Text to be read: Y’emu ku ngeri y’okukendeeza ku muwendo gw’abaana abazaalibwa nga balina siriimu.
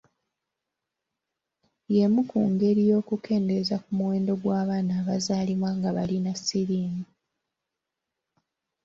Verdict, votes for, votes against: accepted, 3, 0